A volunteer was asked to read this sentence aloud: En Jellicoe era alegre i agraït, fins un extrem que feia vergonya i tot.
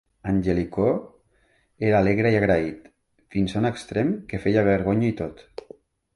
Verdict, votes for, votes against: accepted, 4, 1